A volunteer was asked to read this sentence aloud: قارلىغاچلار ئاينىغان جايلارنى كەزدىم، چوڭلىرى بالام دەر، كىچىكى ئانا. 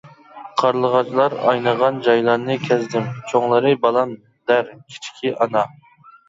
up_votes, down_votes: 2, 0